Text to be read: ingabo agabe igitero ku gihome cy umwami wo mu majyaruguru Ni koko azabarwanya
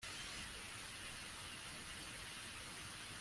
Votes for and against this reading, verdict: 0, 2, rejected